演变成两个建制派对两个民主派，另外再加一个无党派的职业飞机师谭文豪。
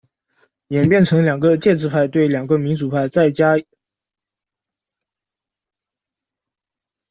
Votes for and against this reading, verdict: 0, 2, rejected